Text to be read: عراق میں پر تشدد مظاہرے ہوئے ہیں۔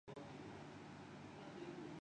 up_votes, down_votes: 0, 7